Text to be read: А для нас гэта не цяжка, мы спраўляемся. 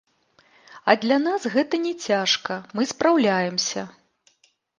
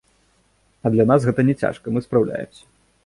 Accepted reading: second